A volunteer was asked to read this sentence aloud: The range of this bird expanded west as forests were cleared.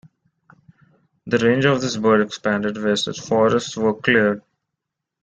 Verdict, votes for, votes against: rejected, 1, 2